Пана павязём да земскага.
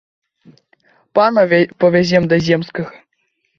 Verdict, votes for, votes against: rejected, 1, 2